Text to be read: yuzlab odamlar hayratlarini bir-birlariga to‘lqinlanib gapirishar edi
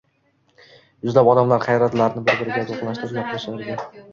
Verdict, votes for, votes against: rejected, 1, 2